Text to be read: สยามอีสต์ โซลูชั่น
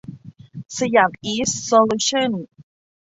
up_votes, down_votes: 2, 0